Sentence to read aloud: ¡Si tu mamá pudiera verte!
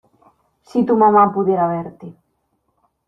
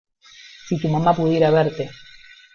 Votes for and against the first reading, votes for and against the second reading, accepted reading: 2, 0, 0, 2, first